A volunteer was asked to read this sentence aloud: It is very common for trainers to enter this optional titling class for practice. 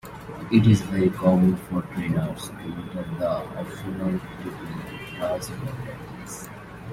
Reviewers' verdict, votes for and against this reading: rejected, 0, 2